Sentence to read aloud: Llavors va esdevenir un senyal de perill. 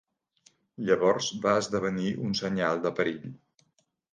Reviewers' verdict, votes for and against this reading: accepted, 2, 0